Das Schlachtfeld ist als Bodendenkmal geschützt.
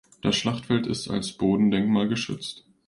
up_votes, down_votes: 2, 0